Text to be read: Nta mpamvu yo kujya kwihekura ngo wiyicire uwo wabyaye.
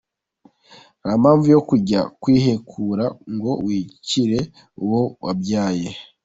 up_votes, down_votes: 2, 0